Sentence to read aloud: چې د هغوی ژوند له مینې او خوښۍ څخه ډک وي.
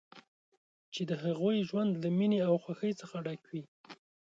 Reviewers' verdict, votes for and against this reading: accepted, 2, 1